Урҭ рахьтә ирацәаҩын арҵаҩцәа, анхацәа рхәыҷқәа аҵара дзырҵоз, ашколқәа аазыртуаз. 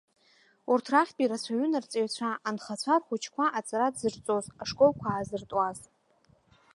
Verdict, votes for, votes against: rejected, 0, 2